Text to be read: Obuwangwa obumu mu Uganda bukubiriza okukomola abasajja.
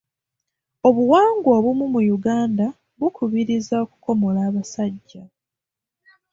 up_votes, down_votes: 2, 0